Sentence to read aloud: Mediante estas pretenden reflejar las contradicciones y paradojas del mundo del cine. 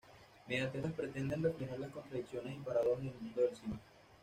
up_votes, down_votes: 1, 2